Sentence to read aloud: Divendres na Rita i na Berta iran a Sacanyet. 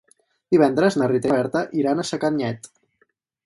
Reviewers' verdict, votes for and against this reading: rejected, 2, 2